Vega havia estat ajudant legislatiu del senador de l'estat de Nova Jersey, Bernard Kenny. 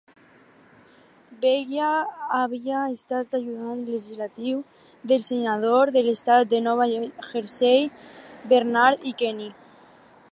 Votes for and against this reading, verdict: 0, 4, rejected